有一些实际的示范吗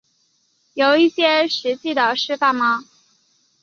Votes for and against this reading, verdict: 2, 0, accepted